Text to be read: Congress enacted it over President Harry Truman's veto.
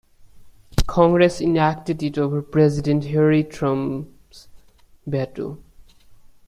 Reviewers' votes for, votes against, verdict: 1, 2, rejected